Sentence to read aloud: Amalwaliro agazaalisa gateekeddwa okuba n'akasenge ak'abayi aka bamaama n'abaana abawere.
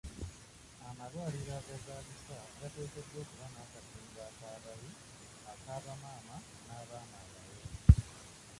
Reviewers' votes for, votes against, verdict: 0, 2, rejected